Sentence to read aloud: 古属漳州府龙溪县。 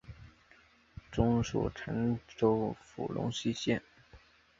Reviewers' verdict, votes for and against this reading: rejected, 0, 2